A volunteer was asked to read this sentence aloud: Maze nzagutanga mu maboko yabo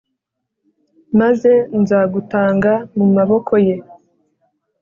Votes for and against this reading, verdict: 1, 2, rejected